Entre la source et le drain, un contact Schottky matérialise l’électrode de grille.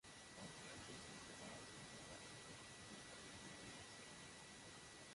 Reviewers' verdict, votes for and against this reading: rejected, 0, 2